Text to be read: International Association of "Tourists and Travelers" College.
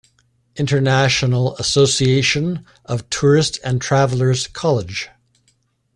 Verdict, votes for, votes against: accepted, 2, 1